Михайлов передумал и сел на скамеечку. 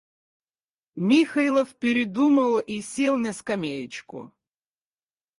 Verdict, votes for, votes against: rejected, 2, 2